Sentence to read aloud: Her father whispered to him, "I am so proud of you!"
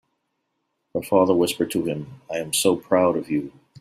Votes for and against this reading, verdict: 3, 0, accepted